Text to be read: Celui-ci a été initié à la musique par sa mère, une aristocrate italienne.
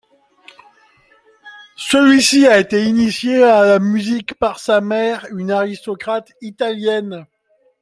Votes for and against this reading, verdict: 2, 0, accepted